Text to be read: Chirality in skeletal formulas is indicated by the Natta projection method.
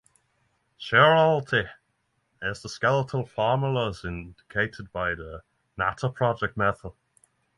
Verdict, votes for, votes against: rejected, 0, 6